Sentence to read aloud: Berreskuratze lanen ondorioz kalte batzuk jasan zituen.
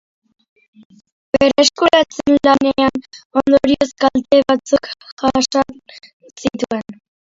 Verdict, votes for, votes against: rejected, 0, 2